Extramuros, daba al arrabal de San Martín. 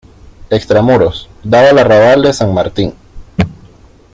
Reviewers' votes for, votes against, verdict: 2, 0, accepted